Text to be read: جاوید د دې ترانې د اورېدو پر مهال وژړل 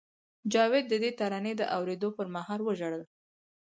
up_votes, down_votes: 4, 2